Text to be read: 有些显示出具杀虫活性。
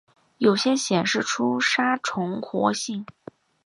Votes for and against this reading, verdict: 2, 0, accepted